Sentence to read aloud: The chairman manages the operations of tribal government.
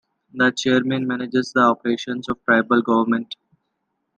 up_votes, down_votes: 2, 0